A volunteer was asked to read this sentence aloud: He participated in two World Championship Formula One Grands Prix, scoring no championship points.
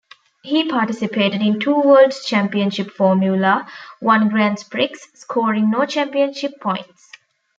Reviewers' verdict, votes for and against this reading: accepted, 2, 1